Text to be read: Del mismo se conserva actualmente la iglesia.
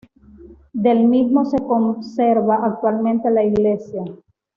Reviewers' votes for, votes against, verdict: 2, 0, accepted